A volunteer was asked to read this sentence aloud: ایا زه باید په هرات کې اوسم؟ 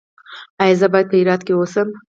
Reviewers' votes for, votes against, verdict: 4, 2, accepted